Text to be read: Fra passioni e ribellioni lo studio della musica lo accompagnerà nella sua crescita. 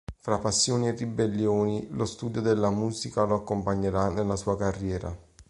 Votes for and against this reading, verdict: 1, 3, rejected